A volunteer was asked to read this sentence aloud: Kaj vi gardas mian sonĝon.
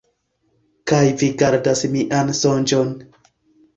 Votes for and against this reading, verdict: 2, 1, accepted